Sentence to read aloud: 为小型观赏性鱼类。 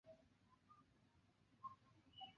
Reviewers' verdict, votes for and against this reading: rejected, 1, 4